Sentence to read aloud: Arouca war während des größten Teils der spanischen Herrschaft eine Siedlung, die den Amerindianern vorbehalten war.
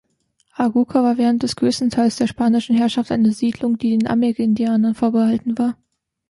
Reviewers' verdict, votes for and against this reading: rejected, 1, 2